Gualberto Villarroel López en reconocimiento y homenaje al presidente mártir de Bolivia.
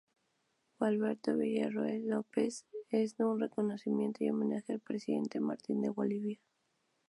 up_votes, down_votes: 0, 4